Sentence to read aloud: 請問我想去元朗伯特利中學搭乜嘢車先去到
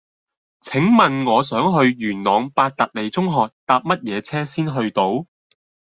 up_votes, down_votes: 2, 0